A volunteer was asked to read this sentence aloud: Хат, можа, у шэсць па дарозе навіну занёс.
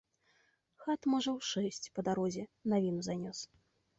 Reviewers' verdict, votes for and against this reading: rejected, 0, 2